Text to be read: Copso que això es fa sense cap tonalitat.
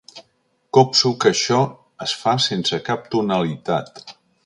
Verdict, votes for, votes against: accepted, 2, 0